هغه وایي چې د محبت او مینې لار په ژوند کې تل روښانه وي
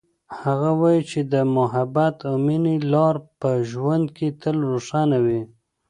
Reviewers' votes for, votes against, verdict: 2, 0, accepted